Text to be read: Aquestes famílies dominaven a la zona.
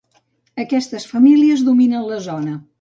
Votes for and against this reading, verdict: 1, 2, rejected